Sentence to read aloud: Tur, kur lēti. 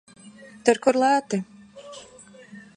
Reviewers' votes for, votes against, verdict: 2, 0, accepted